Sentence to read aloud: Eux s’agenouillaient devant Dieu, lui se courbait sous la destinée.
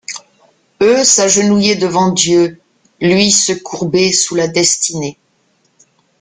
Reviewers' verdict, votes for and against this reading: accepted, 2, 0